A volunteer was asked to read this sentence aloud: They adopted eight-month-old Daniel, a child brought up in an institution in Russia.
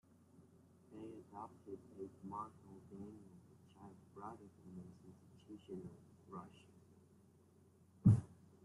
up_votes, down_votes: 0, 2